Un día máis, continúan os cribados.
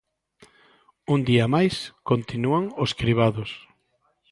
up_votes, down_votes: 2, 0